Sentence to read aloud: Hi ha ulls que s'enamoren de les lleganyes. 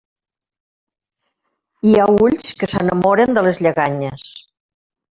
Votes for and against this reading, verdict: 1, 2, rejected